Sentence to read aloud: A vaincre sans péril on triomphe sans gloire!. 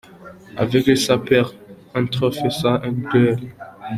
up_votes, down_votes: 2, 1